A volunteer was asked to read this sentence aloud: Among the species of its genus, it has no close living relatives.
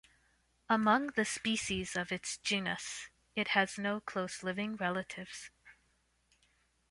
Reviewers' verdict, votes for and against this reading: accepted, 2, 0